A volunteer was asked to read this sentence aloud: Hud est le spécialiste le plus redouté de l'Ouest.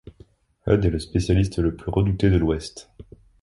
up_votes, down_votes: 2, 0